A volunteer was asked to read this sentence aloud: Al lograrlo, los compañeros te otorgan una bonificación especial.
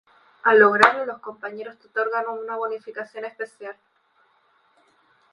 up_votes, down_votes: 0, 2